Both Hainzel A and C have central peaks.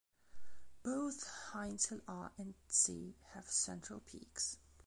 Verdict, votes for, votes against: rejected, 0, 2